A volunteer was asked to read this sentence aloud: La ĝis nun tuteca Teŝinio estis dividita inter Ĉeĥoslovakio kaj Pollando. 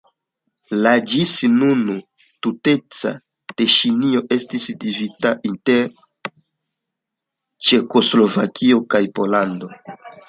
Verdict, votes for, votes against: rejected, 0, 2